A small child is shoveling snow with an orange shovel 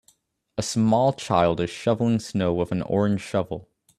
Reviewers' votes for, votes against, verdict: 2, 0, accepted